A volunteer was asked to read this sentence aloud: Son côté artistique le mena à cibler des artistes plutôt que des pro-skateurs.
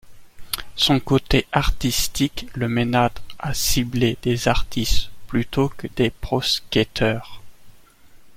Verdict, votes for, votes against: accepted, 2, 0